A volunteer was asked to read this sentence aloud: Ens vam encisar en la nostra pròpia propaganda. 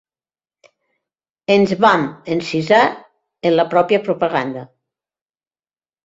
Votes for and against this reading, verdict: 1, 2, rejected